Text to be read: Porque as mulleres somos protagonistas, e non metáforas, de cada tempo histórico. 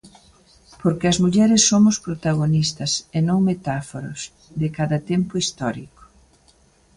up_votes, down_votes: 2, 0